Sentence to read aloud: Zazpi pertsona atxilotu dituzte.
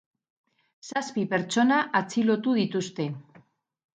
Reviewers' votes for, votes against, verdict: 4, 0, accepted